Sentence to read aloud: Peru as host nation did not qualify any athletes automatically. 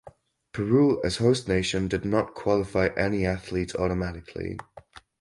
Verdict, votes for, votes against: accepted, 4, 0